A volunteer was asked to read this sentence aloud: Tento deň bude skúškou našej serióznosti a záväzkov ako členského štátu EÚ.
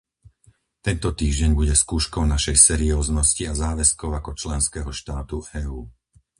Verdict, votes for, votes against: rejected, 0, 4